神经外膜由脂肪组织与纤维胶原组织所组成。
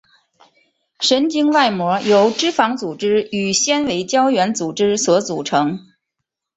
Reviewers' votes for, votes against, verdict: 7, 0, accepted